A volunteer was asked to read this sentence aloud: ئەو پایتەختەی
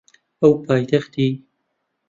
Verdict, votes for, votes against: rejected, 0, 2